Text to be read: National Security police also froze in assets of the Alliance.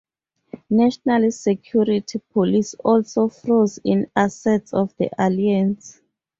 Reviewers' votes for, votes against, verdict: 2, 0, accepted